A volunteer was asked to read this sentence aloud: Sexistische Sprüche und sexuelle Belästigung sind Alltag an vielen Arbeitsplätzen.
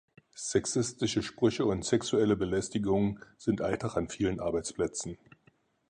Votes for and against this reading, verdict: 4, 0, accepted